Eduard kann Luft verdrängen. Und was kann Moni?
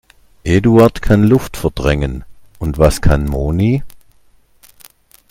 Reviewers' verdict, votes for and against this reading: accepted, 2, 0